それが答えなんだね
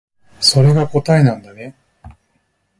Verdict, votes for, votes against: rejected, 1, 2